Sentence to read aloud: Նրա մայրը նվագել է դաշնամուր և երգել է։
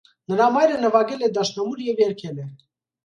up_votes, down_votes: 2, 0